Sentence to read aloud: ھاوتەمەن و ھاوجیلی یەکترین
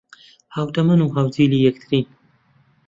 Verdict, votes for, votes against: accepted, 2, 0